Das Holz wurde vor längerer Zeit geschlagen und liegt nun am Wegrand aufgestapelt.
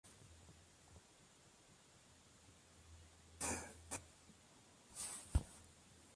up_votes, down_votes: 0, 2